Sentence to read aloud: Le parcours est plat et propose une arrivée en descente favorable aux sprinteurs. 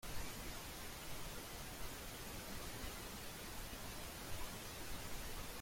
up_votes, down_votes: 0, 2